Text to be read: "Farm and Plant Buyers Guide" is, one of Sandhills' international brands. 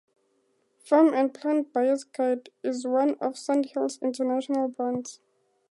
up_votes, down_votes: 2, 0